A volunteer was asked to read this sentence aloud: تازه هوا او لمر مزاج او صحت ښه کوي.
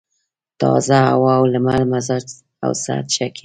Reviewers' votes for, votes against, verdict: 1, 2, rejected